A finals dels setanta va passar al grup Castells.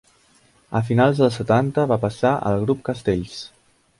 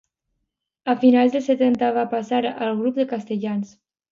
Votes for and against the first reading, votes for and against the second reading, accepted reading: 2, 0, 0, 2, first